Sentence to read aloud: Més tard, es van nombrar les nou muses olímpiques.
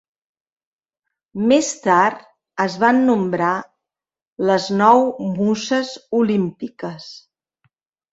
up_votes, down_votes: 2, 0